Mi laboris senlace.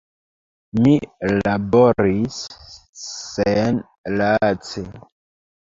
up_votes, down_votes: 0, 2